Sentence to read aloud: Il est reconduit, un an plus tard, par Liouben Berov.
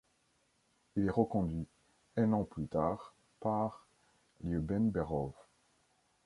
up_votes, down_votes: 2, 0